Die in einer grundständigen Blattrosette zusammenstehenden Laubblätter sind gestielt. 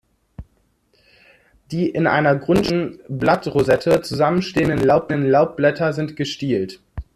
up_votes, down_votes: 0, 2